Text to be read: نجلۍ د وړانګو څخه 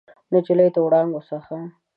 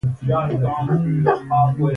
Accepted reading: first